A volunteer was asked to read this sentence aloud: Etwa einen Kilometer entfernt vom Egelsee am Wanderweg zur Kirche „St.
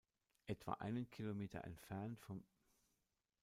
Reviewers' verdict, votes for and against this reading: rejected, 0, 2